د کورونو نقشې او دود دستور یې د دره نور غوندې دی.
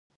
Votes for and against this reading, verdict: 0, 2, rejected